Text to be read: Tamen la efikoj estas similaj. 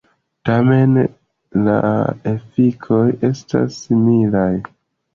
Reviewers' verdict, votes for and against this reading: accepted, 2, 0